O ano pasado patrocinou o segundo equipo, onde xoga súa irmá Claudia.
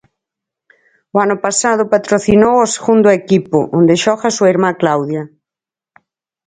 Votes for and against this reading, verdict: 4, 0, accepted